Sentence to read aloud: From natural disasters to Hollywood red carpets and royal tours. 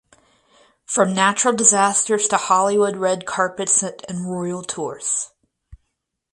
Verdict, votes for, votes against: accepted, 4, 0